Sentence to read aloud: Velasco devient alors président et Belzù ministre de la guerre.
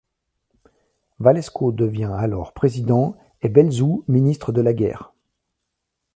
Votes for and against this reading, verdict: 0, 2, rejected